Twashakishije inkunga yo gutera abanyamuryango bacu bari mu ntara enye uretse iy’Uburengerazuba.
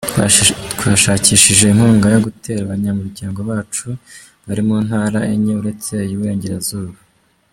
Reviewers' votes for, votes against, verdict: 1, 2, rejected